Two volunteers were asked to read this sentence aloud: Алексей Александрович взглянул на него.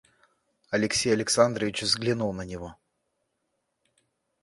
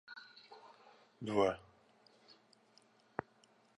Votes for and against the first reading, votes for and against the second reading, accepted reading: 2, 0, 0, 2, first